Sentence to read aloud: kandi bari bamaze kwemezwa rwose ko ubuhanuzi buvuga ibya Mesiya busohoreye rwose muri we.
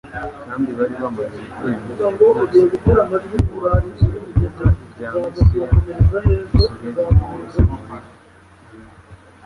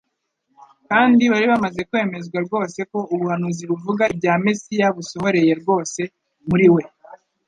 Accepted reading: second